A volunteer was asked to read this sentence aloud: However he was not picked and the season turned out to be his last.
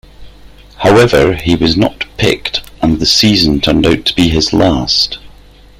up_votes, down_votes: 3, 0